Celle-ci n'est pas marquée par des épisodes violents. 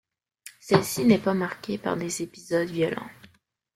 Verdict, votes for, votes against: rejected, 1, 2